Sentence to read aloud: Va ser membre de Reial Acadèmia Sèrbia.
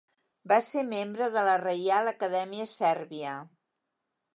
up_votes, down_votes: 0, 2